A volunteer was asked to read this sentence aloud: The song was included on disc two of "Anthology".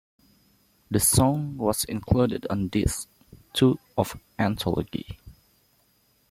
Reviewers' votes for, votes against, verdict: 2, 0, accepted